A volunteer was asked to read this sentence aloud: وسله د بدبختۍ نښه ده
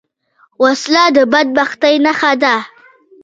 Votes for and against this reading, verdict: 2, 0, accepted